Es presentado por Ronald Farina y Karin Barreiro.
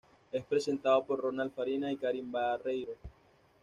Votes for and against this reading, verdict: 1, 2, rejected